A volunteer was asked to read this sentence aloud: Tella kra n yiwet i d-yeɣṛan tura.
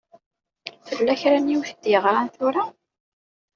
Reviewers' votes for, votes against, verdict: 1, 2, rejected